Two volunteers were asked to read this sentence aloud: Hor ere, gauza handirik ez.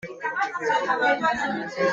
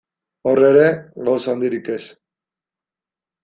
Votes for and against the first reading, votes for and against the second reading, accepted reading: 0, 2, 2, 0, second